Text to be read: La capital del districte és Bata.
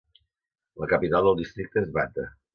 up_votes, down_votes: 2, 0